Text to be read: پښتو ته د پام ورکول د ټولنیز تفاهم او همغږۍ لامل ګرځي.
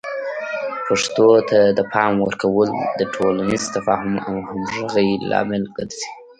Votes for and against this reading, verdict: 0, 2, rejected